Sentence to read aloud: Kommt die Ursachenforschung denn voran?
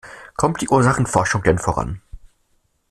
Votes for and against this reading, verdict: 2, 0, accepted